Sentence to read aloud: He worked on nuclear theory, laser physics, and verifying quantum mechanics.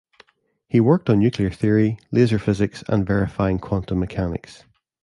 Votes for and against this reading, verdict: 2, 0, accepted